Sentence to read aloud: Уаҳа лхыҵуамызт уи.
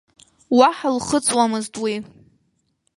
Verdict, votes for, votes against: accepted, 2, 0